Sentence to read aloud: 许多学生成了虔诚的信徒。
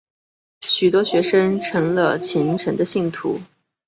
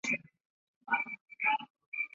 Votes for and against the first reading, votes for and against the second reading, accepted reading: 2, 0, 0, 3, first